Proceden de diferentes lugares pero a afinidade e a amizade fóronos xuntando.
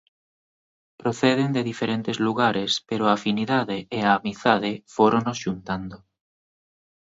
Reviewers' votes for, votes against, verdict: 2, 1, accepted